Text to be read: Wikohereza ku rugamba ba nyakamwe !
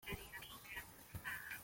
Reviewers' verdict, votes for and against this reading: rejected, 0, 2